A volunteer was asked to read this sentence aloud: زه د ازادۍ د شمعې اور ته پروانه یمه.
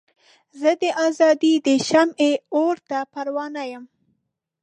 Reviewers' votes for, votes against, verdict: 0, 2, rejected